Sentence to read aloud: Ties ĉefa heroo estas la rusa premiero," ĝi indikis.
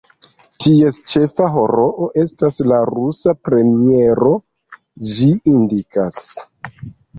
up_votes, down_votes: 0, 2